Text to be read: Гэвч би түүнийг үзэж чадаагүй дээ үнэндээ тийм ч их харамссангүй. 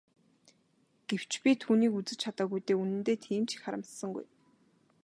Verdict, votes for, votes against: accepted, 6, 0